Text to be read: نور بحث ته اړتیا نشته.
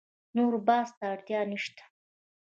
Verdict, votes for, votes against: rejected, 1, 2